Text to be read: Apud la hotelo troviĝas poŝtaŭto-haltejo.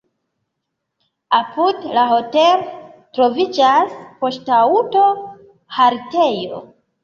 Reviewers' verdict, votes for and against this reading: accepted, 3, 2